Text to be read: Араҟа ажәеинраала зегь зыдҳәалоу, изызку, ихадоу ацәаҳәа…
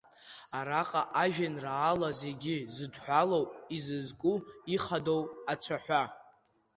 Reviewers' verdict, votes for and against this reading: accepted, 2, 1